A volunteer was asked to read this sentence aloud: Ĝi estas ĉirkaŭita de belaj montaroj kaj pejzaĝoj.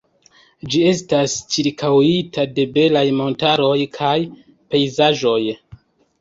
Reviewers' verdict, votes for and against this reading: accepted, 4, 0